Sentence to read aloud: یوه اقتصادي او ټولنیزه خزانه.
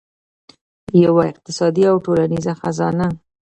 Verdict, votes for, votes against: rejected, 0, 2